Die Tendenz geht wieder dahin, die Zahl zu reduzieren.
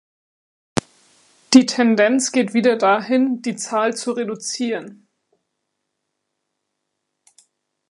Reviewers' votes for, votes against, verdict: 2, 0, accepted